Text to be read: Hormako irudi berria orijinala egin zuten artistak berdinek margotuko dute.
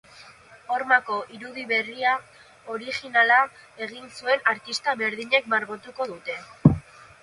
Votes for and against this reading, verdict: 1, 3, rejected